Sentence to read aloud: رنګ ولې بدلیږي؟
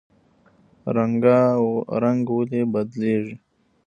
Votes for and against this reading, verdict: 2, 0, accepted